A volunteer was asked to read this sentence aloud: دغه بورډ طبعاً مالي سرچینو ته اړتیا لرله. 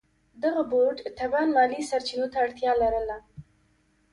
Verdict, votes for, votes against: rejected, 1, 2